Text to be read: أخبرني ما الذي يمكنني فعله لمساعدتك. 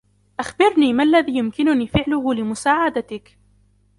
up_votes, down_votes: 2, 1